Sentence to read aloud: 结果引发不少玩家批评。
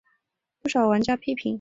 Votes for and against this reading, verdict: 2, 3, rejected